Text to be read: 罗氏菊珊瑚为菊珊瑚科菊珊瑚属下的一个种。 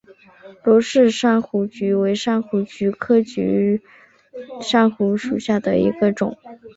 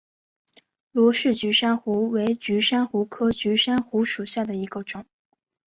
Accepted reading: second